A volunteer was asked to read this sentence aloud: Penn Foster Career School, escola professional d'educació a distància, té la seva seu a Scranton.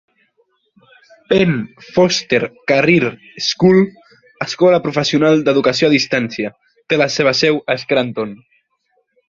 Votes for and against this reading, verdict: 3, 0, accepted